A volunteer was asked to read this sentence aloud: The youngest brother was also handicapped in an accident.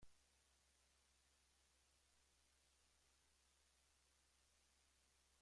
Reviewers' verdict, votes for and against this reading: rejected, 1, 2